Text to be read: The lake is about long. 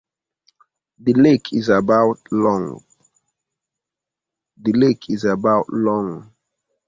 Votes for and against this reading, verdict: 0, 2, rejected